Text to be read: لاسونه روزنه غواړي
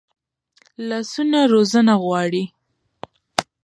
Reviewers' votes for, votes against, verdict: 2, 0, accepted